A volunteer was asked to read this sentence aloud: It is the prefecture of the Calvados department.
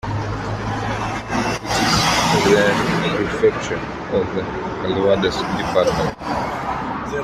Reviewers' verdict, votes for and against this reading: rejected, 1, 3